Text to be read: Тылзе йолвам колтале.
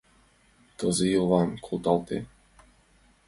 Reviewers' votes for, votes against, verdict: 2, 1, accepted